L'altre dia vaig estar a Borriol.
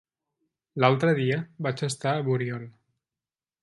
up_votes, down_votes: 0, 2